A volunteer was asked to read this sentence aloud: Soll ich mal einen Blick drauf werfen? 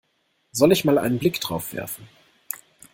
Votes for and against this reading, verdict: 2, 0, accepted